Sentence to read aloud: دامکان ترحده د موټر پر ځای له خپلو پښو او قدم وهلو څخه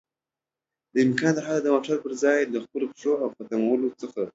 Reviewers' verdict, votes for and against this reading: accepted, 2, 0